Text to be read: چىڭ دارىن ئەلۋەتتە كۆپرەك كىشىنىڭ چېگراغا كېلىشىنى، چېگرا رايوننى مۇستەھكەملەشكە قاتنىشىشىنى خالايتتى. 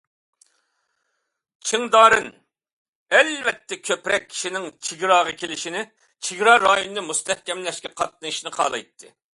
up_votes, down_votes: 2, 0